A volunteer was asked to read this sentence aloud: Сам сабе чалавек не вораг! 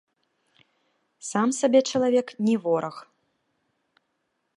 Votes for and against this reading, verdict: 2, 0, accepted